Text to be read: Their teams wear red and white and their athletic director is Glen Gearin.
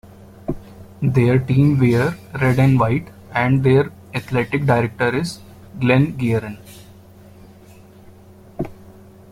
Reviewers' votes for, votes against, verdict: 2, 1, accepted